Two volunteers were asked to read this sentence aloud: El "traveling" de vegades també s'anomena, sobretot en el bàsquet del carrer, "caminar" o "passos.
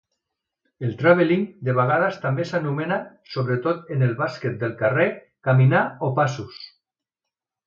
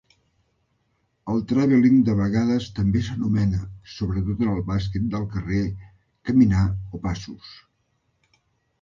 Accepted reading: first